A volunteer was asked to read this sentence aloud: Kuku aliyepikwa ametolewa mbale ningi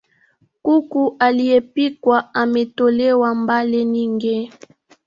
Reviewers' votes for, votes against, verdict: 3, 1, accepted